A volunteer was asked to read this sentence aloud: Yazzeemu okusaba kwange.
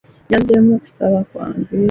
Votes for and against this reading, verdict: 2, 0, accepted